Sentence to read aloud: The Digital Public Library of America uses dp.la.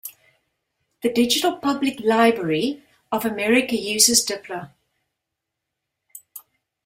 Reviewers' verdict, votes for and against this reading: rejected, 1, 3